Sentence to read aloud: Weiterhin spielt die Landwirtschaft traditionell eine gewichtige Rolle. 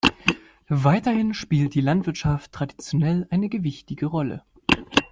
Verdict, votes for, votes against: accepted, 2, 0